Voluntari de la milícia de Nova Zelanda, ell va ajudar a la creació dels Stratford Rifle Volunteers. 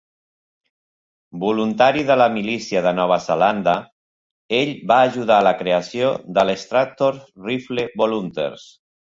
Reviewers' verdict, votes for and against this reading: accepted, 2, 1